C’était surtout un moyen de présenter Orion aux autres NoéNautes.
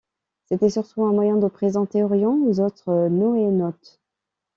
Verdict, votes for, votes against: accepted, 2, 1